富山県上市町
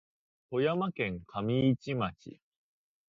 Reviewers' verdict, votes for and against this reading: accepted, 2, 0